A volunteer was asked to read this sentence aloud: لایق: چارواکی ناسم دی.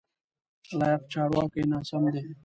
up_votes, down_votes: 2, 0